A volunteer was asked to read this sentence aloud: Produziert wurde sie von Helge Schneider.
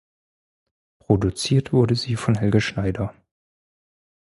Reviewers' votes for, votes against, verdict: 4, 0, accepted